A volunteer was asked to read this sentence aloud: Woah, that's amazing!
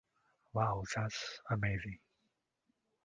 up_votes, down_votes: 1, 2